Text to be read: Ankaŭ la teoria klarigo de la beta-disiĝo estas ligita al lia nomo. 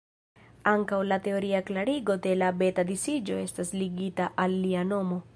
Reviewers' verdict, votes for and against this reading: accepted, 2, 0